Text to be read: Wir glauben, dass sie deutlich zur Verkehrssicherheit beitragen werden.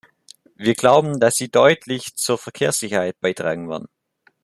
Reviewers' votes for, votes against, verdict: 2, 0, accepted